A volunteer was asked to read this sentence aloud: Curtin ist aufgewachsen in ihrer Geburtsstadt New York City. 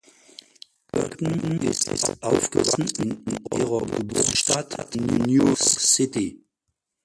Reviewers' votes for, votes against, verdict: 0, 4, rejected